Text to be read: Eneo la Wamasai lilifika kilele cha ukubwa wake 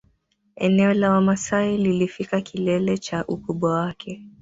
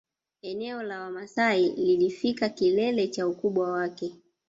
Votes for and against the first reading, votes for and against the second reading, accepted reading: 1, 2, 2, 0, second